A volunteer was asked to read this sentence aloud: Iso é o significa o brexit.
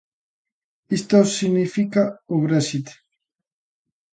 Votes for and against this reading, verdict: 0, 2, rejected